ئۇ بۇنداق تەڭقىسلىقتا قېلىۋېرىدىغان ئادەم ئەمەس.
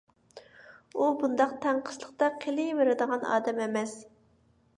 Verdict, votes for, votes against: accepted, 2, 0